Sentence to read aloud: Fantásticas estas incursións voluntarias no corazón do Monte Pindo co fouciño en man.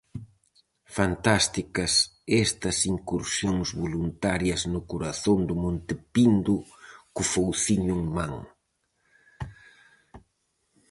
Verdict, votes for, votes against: accepted, 4, 0